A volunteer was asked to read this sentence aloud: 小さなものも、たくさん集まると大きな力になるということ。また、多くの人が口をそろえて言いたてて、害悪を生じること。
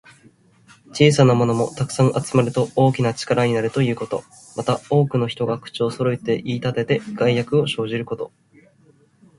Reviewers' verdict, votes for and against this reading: accepted, 2, 1